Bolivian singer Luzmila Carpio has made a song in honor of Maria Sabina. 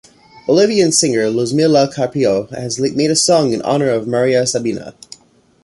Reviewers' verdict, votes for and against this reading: rejected, 1, 2